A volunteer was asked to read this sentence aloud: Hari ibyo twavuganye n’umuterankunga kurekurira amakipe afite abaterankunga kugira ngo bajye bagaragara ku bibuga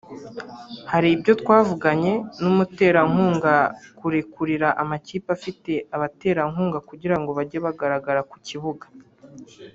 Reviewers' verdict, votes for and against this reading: rejected, 1, 2